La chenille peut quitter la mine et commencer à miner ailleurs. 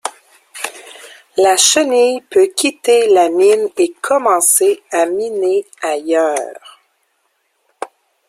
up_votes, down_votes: 2, 0